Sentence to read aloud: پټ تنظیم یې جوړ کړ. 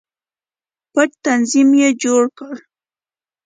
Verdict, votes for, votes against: accepted, 2, 0